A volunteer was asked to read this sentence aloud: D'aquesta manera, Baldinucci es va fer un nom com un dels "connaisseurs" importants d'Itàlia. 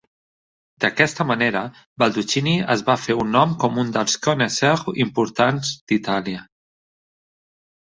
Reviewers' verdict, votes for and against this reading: rejected, 1, 2